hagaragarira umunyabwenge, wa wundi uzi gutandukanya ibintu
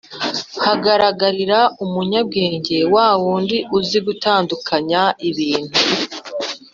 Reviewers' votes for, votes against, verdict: 3, 0, accepted